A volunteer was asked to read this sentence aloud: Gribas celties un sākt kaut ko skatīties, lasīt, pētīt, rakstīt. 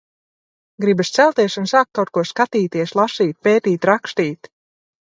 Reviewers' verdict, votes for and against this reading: rejected, 0, 2